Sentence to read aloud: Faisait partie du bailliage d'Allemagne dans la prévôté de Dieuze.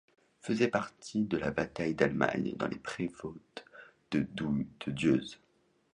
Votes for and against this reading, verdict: 0, 2, rejected